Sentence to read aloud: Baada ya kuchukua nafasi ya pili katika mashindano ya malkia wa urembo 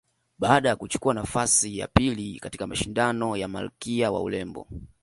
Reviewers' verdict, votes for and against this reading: accepted, 2, 1